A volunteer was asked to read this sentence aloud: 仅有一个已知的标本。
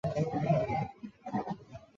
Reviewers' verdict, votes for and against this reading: rejected, 0, 2